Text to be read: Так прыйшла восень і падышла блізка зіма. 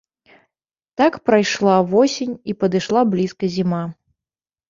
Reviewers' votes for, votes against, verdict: 1, 2, rejected